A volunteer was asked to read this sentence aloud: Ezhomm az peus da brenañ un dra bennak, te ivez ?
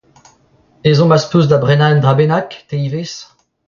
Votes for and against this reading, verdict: 3, 2, accepted